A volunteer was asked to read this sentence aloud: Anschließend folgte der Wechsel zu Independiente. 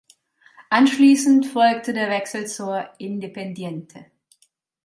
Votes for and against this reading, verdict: 4, 0, accepted